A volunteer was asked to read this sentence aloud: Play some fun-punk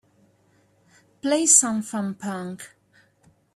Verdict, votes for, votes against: accepted, 2, 1